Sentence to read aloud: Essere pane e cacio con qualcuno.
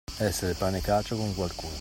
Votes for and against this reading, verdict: 2, 0, accepted